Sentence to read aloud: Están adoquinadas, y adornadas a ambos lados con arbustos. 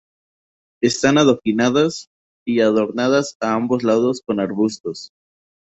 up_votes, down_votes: 2, 0